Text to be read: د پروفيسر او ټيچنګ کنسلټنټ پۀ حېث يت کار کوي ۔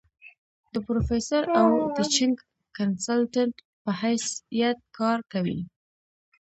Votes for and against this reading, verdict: 0, 2, rejected